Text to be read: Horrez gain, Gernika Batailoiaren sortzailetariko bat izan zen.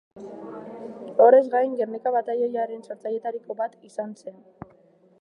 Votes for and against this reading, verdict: 2, 0, accepted